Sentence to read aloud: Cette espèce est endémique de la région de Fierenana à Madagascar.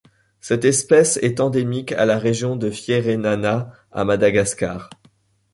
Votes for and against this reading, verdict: 1, 2, rejected